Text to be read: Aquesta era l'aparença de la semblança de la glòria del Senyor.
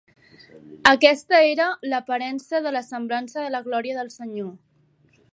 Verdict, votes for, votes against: accepted, 3, 0